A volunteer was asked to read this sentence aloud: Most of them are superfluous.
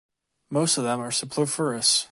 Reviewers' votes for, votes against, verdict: 1, 2, rejected